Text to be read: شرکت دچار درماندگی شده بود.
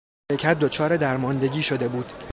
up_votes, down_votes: 0, 2